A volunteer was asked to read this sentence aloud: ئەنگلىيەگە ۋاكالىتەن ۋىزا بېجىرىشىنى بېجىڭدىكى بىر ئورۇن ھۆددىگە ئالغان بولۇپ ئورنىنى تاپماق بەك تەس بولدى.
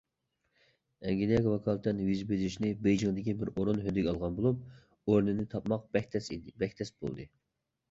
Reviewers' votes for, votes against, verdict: 0, 2, rejected